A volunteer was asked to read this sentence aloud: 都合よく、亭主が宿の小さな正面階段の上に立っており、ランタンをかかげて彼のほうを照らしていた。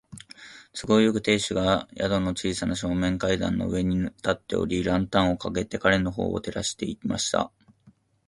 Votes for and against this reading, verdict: 0, 2, rejected